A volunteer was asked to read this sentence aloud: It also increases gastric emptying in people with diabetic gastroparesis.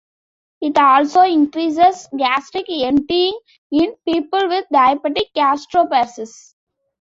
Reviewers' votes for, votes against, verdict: 0, 2, rejected